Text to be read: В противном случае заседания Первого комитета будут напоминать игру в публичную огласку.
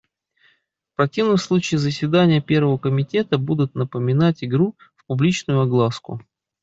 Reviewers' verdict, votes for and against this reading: accepted, 2, 0